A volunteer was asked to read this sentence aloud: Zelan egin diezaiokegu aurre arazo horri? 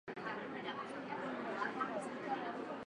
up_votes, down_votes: 0, 2